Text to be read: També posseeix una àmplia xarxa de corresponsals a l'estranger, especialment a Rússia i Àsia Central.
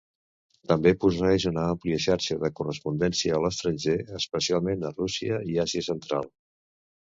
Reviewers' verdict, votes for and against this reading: rejected, 0, 2